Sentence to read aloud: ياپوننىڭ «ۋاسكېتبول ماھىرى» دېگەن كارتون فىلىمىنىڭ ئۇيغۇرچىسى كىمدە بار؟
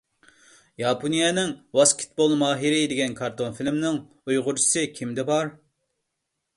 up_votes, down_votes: 0, 2